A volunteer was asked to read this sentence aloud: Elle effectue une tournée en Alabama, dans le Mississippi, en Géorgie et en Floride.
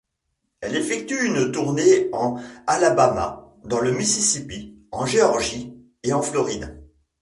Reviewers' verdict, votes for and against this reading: rejected, 1, 2